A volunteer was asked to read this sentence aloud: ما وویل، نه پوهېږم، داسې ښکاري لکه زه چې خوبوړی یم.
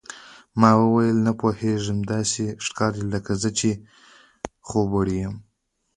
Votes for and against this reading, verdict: 1, 2, rejected